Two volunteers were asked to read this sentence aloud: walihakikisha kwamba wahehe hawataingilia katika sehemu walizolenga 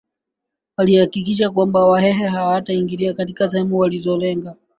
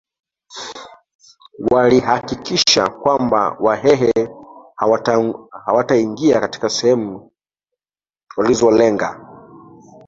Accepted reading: first